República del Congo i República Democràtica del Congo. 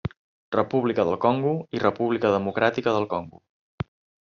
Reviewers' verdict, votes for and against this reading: accepted, 3, 0